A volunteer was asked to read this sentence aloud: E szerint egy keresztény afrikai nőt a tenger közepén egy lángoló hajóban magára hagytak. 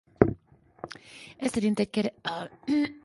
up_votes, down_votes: 0, 4